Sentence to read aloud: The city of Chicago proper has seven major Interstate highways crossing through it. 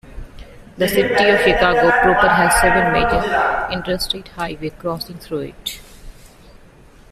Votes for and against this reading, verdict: 0, 2, rejected